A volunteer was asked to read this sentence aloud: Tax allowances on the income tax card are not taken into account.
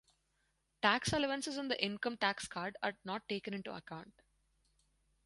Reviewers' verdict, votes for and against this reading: accepted, 2, 0